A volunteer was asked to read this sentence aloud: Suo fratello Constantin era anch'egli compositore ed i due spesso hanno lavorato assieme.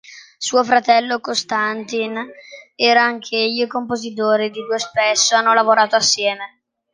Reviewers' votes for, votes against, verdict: 2, 0, accepted